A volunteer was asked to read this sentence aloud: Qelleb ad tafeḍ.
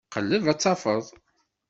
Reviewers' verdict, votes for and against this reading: accepted, 2, 0